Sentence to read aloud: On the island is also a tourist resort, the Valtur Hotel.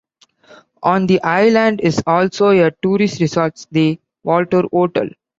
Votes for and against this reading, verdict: 0, 2, rejected